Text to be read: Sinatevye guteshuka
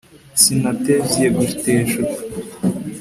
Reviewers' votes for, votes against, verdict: 2, 0, accepted